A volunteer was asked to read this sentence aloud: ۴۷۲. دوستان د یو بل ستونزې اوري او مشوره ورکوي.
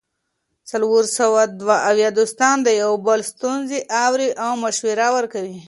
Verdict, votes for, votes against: rejected, 0, 2